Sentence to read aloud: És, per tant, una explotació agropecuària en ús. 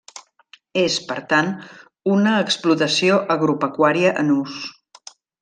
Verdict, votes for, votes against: accepted, 2, 0